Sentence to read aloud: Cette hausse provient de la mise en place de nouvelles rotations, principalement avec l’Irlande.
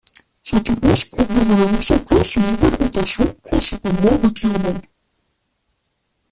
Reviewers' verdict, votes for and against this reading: rejected, 0, 2